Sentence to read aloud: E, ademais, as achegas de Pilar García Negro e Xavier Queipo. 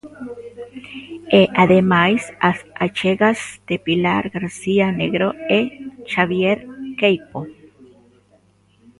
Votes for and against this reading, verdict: 2, 1, accepted